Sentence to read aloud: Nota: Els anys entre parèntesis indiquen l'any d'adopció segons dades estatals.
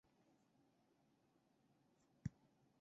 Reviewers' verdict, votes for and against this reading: rejected, 0, 2